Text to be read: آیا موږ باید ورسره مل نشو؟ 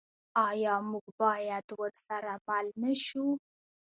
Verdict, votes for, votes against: rejected, 1, 2